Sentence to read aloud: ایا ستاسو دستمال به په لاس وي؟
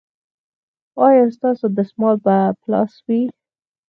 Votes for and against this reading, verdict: 2, 4, rejected